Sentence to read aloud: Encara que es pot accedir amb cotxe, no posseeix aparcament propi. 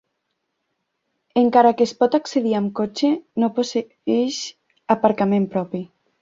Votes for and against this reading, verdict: 2, 0, accepted